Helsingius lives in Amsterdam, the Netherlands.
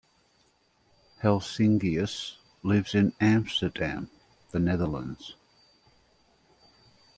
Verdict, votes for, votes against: accepted, 2, 0